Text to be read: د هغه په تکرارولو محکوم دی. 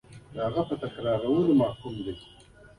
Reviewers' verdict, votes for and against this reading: rejected, 0, 2